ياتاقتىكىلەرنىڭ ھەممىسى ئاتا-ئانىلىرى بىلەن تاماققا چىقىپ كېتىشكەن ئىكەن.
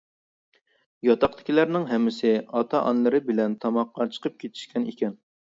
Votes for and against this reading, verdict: 2, 1, accepted